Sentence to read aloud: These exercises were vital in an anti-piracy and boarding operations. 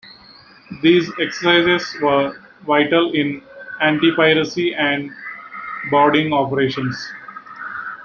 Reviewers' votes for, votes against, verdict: 0, 2, rejected